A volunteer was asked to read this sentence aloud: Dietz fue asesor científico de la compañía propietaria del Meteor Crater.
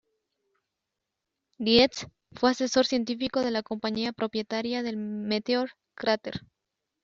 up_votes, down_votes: 0, 2